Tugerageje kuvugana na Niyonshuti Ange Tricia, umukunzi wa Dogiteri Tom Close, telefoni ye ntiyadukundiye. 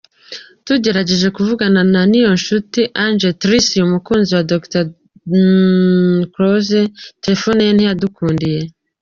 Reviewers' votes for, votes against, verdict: 1, 2, rejected